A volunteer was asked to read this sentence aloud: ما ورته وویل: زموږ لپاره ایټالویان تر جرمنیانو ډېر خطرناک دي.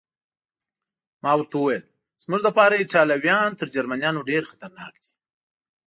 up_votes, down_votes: 2, 0